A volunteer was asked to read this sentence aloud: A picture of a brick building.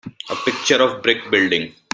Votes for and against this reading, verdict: 2, 3, rejected